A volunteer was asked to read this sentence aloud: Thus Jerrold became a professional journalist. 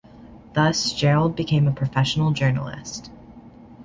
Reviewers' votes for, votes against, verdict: 2, 0, accepted